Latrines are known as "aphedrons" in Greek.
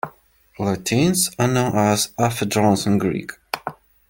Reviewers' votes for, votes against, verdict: 0, 2, rejected